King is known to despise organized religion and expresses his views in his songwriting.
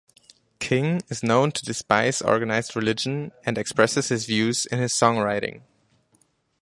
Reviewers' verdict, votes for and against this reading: rejected, 0, 2